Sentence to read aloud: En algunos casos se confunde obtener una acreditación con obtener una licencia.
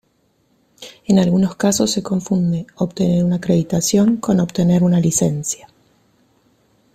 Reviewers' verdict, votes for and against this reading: rejected, 0, 2